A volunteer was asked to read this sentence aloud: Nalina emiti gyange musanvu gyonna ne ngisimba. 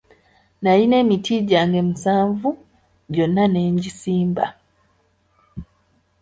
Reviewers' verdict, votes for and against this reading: accepted, 2, 0